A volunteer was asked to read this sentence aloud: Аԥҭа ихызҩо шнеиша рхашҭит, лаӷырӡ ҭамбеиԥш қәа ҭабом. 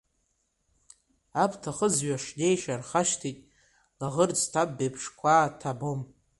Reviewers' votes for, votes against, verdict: 1, 2, rejected